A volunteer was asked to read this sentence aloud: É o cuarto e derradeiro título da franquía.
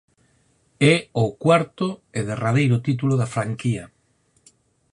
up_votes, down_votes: 4, 0